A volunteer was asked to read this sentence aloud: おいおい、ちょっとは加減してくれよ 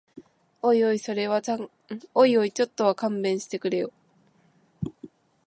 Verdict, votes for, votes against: rejected, 0, 2